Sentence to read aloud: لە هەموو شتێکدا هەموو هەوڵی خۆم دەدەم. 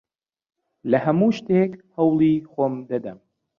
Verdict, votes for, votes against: rejected, 1, 2